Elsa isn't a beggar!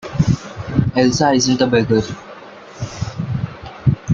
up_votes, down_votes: 2, 0